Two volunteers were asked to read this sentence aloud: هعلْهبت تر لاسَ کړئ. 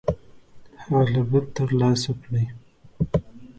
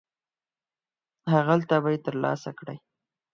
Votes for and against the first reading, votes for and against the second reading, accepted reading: 2, 1, 2, 4, first